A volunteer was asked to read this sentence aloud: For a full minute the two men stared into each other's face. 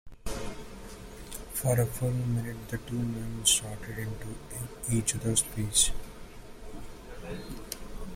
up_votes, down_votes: 0, 2